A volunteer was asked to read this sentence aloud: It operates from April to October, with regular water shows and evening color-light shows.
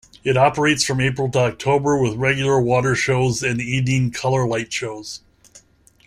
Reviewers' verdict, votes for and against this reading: rejected, 1, 2